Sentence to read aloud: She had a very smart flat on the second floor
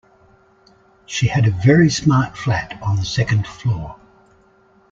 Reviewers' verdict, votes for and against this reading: accepted, 2, 0